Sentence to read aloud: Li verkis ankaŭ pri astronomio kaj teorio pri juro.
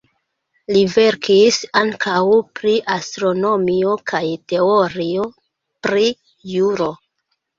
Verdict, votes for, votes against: rejected, 0, 2